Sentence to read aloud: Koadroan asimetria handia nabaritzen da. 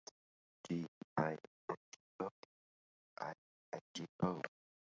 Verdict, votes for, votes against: rejected, 0, 3